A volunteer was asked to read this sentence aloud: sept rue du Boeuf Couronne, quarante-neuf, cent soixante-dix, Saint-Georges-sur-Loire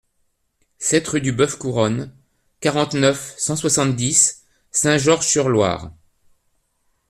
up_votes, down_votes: 2, 0